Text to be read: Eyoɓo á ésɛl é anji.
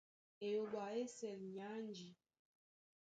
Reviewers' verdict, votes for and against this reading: accepted, 2, 0